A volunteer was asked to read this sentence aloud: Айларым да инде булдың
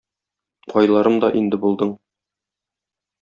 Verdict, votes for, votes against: rejected, 1, 2